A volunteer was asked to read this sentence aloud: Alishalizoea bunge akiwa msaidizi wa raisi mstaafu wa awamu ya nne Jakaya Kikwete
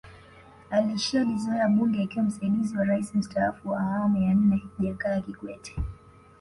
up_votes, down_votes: 2, 1